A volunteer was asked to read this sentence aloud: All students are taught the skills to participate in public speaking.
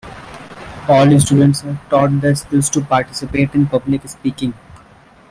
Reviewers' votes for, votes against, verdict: 0, 2, rejected